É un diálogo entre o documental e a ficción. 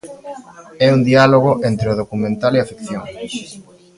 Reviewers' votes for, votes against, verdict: 0, 2, rejected